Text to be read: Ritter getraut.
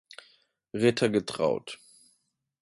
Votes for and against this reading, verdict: 2, 0, accepted